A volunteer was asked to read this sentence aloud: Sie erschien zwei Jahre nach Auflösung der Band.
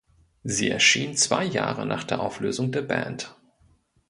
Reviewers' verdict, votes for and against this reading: rejected, 0, 2